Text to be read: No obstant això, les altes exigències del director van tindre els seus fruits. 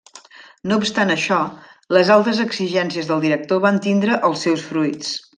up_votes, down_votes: 2, 0